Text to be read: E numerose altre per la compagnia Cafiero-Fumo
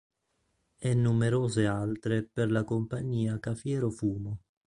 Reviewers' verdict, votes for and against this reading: accepted, 2, 0